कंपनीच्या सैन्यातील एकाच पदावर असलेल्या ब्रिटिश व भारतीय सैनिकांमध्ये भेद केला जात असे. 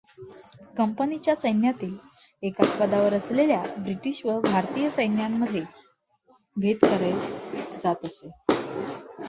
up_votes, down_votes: 2, 0